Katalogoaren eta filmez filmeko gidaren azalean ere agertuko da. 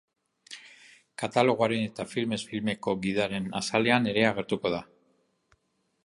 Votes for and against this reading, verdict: 2, 0, accepted